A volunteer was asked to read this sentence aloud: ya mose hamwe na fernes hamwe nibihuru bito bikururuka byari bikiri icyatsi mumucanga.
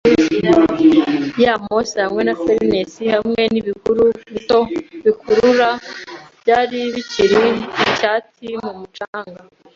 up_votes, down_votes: 1, 2